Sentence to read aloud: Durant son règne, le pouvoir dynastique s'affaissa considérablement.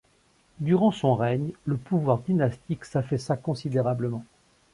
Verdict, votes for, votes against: accepted, 3, 0